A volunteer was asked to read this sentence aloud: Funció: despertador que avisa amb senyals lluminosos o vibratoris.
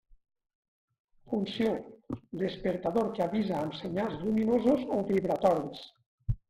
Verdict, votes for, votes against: rejected, 1, 2